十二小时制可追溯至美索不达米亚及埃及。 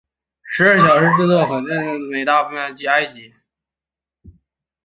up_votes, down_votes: 0, 2